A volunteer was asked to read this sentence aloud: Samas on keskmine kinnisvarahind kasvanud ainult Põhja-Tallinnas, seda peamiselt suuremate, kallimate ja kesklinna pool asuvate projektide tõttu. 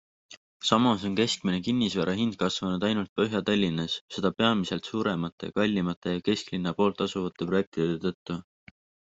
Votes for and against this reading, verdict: 2, 1, accepted